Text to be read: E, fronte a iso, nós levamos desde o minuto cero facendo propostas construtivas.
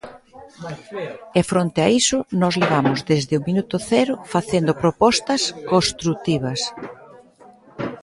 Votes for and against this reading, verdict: 0, 2, rejected